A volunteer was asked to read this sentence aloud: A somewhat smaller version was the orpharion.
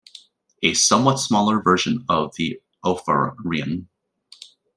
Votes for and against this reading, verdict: 0, 2, rejected